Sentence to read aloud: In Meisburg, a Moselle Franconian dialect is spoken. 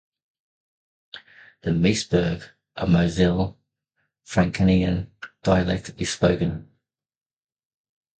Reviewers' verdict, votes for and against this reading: accepted, 2, 1